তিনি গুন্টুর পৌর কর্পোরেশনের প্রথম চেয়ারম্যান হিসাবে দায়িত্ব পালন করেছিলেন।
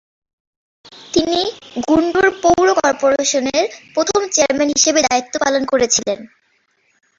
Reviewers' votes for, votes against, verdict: 2, 1, accepted